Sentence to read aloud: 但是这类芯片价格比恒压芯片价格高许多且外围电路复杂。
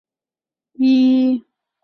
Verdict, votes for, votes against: rejected, 0, 4